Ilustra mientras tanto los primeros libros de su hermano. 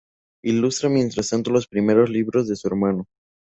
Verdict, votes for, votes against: accepted, 2, 0